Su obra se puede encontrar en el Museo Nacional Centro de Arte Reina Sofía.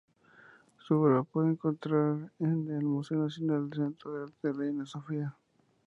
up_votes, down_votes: 0, 2